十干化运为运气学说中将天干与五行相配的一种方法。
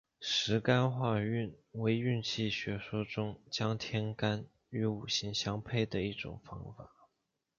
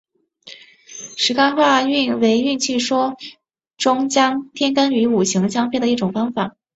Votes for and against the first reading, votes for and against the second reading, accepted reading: 0, 2, 5, 0, second